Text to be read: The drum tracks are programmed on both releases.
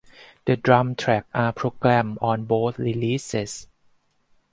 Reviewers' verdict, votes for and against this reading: accepted, 4, 2